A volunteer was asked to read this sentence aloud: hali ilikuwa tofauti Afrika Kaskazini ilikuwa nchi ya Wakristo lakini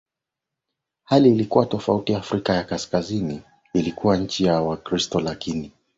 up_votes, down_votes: 8, 2